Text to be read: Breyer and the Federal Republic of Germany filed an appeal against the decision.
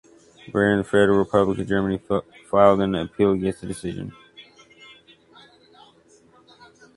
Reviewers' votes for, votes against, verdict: 0, 2, rejected